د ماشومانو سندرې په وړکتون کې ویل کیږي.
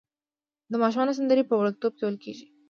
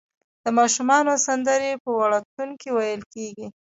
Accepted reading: first